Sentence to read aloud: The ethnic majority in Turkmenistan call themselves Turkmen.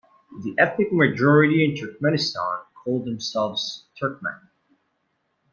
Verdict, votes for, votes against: accepted, 2, 0